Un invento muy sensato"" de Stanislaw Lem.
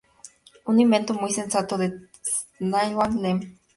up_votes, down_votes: 0, 2